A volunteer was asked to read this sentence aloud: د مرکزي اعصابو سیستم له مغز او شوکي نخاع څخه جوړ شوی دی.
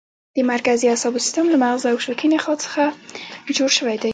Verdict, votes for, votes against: rejected, 1, 2